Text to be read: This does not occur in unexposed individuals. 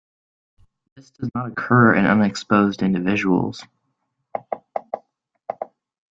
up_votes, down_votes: 1, 2